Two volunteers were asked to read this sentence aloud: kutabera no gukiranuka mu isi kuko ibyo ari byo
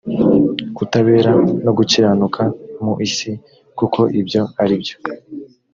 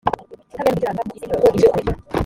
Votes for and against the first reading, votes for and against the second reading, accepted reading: 2, 0, 1, 2, first